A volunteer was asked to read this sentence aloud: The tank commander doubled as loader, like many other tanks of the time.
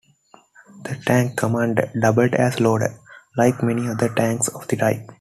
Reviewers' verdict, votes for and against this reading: accepted, 2, 0